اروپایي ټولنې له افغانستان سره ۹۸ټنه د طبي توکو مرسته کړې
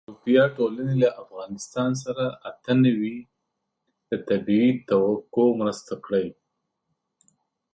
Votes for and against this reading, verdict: 0, 2, rejected